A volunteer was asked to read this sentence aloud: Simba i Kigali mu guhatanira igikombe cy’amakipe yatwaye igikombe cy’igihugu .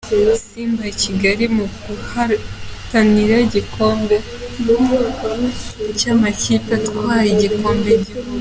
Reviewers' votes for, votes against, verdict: 1, 2, rejected